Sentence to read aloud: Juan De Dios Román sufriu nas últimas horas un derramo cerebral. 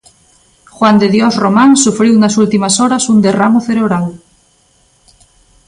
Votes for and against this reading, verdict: 2, 0, accepted